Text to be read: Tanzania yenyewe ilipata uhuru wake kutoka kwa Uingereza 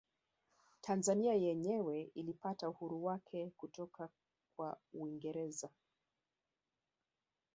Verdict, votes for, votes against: rejected, 1, 2